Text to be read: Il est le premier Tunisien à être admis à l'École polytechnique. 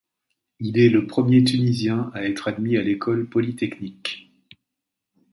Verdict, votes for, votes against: accepted, 2, 0